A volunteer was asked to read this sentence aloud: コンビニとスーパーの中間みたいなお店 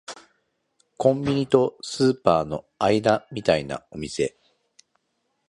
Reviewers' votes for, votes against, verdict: 1, 2, rejected